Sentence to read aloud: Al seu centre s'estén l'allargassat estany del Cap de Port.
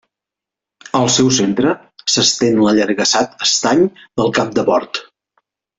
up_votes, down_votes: 2, 0